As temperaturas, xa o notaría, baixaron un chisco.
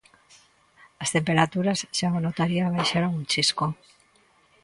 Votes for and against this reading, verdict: 2, 0, accepted